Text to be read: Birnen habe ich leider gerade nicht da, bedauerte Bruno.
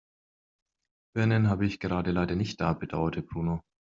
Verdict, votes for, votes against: rejected, 1, 2